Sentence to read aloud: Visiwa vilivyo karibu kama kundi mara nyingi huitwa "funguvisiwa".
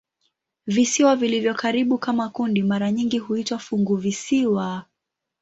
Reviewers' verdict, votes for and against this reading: accepted, 19, 3